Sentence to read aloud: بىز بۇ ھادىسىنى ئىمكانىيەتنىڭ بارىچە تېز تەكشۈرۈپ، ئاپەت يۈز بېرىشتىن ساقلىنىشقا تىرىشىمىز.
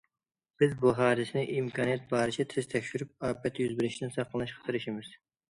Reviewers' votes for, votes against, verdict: 2, 1, accepted